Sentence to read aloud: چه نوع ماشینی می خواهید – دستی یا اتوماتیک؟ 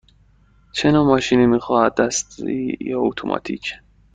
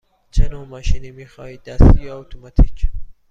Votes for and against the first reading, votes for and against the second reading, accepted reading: 1, 2, 2, 0, second